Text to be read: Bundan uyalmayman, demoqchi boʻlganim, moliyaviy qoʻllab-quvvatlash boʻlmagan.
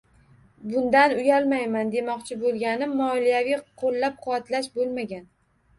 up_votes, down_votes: 1, 2